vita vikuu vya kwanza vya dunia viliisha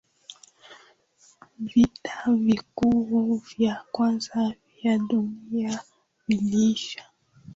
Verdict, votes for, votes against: accepted, 2, 0